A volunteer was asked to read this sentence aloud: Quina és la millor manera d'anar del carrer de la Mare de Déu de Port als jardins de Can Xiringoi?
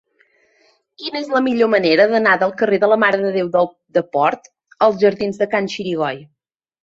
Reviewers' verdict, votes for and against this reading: rejected, 0, 2